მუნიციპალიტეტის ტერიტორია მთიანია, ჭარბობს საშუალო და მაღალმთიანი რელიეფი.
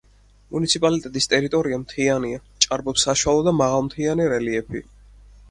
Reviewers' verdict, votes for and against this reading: accepted, 4, 0